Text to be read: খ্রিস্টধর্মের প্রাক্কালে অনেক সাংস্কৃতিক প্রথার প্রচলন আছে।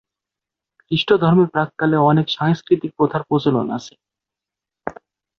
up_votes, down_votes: 11, 1